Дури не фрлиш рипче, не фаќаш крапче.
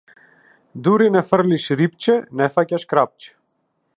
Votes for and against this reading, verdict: 2, 0, accepted